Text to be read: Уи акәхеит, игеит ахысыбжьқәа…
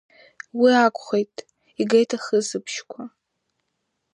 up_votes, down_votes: 2, 0